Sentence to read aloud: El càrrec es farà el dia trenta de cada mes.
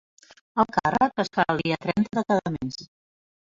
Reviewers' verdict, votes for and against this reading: rejected, 1, 3